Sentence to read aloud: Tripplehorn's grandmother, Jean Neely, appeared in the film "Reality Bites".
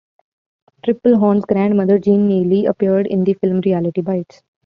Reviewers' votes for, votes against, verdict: 2, 0, accepted